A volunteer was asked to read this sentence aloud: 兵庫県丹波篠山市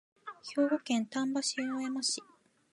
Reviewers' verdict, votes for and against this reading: accepted, 2, 0